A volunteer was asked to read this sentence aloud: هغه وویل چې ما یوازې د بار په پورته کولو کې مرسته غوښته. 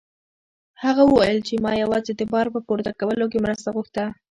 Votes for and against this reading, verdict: 2, 0, accepted